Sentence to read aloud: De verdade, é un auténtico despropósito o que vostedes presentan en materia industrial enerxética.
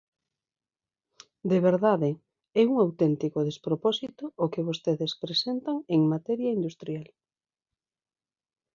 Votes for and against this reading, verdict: 0, 2, rejected